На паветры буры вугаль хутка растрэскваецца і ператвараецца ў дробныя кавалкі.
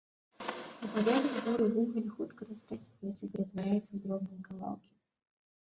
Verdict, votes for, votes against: rejected, 0, 3